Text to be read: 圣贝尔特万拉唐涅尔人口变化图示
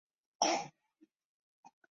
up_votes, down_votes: 0, 2